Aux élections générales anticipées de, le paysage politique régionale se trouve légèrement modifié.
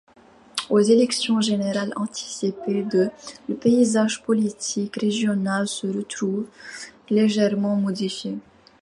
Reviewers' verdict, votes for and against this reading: rejected, 0, 2